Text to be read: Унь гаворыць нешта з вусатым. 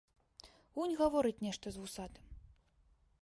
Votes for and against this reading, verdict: 2, 0, accepted